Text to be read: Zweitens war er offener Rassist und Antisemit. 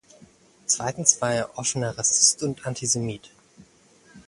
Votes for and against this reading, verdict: 2, 0, accepted